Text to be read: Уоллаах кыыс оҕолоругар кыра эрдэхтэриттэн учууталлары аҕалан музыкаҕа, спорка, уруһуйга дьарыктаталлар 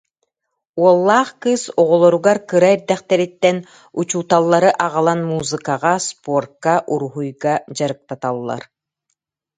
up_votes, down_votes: 2, 0